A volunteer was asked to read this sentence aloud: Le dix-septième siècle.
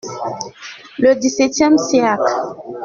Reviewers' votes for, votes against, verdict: 1, 2, rejected